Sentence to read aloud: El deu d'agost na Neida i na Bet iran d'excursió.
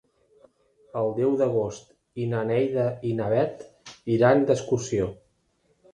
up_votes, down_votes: 1, 2